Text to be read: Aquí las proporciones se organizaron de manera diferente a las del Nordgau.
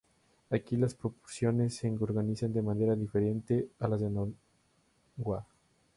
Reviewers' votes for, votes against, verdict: 0, 2, rejected